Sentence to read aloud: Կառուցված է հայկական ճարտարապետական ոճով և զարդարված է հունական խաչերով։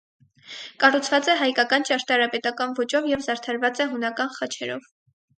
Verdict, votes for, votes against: accepted, 4, 0